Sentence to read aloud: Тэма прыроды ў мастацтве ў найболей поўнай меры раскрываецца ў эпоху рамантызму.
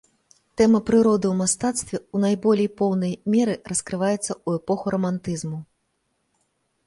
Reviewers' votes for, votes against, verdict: 2, 0, accepted